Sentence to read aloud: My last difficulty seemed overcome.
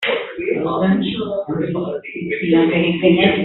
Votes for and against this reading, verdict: 0, 2, rejected